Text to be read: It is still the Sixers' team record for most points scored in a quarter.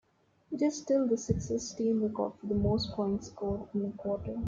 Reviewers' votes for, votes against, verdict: 0, 2, rejected